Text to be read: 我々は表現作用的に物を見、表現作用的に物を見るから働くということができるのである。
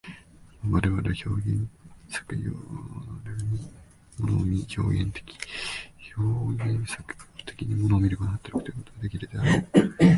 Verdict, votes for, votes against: rejected, 0, 2